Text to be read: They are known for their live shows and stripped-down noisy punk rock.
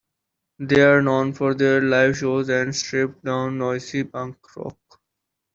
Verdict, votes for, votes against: accepted, 2, 0